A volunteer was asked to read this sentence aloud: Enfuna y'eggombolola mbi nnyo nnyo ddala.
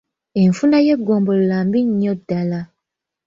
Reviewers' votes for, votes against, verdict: 2, 1, accepted